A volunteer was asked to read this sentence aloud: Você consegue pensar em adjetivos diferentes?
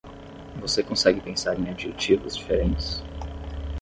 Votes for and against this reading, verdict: 10, 0, accepted